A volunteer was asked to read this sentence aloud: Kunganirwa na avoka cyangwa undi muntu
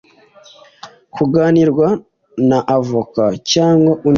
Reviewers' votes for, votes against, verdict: 1, 2, rejected